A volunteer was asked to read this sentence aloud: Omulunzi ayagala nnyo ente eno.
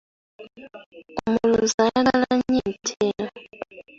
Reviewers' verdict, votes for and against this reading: rejected, 1, 2